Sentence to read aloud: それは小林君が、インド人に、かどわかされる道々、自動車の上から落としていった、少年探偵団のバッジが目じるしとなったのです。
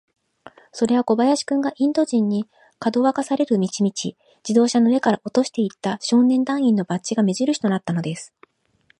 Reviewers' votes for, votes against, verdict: 0, 2, rejected